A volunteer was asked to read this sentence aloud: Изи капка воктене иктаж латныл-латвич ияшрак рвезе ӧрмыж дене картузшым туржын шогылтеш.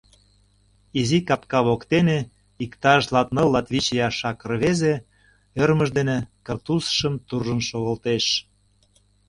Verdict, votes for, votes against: rejected, 0, 2